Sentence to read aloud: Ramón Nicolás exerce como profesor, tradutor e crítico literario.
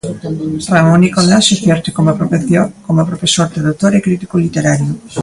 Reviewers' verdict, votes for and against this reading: rejected, 0, 2